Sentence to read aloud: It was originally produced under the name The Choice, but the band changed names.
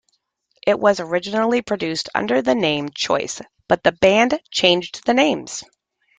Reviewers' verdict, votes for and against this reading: rejected, 1, 2